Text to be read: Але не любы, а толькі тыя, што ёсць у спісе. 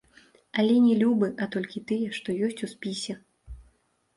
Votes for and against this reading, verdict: 0, 2, rejected